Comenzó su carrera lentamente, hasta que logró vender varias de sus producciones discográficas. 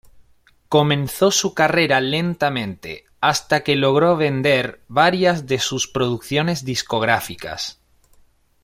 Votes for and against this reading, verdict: 2, 0, accepted